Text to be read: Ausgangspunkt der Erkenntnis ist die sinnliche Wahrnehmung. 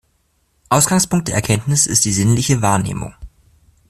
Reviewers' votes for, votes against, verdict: 2, 0, accepted